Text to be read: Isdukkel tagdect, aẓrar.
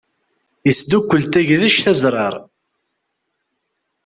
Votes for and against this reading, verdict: 2, 1, accepted